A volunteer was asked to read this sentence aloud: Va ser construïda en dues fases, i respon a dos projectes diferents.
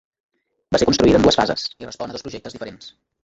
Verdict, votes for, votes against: rejected, 1, 2